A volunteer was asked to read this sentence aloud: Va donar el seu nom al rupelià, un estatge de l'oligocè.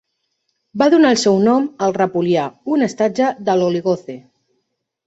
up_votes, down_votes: 0, 2